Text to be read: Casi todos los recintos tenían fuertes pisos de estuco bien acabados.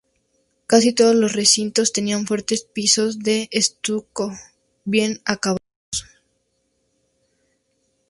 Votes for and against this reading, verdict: 2, 0, accepted